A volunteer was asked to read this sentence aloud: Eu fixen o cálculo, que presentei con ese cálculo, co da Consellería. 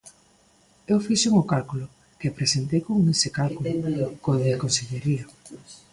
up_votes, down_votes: 0, 2